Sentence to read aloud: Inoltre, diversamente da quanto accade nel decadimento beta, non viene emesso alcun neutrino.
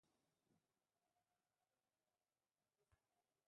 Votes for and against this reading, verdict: 0, 2, rejected